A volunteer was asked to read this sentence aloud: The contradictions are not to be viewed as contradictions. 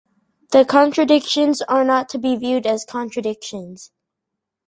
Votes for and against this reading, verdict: 4, 0, accepted